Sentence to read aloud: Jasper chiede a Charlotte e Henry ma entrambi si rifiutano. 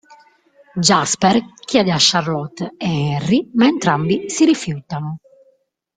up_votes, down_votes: 1, 2